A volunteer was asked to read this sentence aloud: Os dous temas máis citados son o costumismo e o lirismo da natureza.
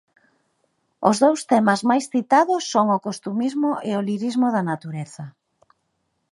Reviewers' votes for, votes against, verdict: 2, 0, accepted